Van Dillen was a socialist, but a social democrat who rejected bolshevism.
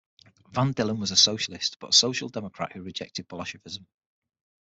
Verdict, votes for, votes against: accepted, 6, 3